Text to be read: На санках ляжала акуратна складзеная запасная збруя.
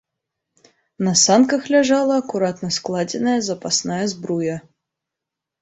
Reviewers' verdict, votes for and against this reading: accepted, 3, 0